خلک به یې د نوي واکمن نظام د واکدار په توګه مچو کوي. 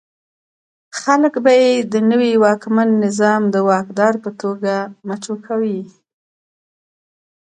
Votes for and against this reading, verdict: 2, 0, accepted